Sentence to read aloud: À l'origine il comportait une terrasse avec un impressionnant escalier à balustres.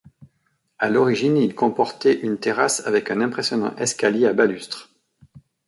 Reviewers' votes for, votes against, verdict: 2, 0, accepted